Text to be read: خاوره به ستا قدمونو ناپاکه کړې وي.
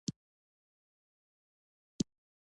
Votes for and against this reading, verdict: 2, 1, accepted